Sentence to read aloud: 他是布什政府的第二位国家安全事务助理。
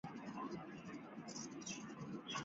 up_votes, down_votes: 3, 1